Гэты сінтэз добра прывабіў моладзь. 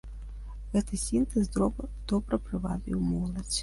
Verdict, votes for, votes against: rejected, 0, 2